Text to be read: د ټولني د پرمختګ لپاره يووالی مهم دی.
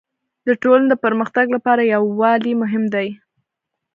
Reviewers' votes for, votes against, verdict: 2, 1, accepted